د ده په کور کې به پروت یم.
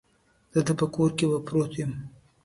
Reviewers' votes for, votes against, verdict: 2, 0, accepted